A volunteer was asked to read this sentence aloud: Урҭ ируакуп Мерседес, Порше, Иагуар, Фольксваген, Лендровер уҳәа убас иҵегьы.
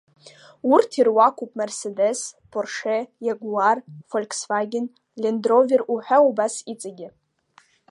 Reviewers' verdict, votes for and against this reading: accepted, 2, 0